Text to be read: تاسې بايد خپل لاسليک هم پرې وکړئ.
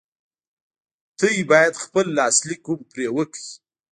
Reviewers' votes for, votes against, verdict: 2, 3, rejected